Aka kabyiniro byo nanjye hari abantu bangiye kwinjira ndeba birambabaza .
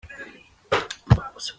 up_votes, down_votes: 0, 2